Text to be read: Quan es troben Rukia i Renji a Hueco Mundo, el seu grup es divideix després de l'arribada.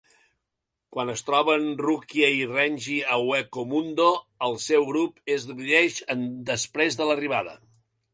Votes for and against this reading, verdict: 2, 0, accepted